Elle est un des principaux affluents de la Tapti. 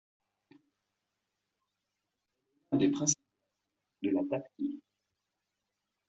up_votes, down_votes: 0, 2